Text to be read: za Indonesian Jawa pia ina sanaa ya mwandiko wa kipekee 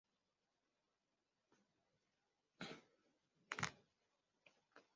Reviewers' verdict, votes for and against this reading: rejected, 0, 2